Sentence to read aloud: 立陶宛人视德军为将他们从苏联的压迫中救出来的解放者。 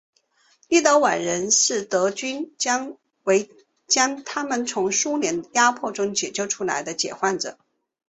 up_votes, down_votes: 8, 3